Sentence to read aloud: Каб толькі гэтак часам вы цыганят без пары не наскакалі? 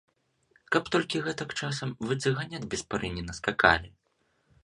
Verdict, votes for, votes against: accepted, 2, 0